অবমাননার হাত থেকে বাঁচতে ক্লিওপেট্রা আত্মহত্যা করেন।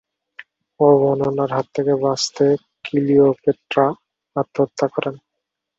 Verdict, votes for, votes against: rejected, 8, 10